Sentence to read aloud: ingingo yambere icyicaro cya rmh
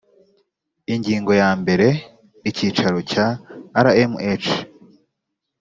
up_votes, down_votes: 2, 0